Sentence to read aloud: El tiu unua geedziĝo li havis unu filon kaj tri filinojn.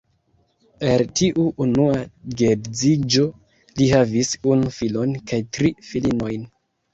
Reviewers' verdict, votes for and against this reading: rejected, 0, 2